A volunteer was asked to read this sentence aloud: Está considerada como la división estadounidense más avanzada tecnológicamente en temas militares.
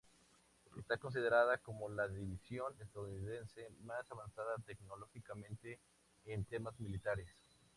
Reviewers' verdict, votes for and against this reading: accepted, 2, 0